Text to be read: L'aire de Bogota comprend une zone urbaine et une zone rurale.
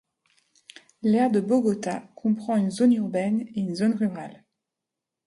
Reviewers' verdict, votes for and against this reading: accepted, 3, 0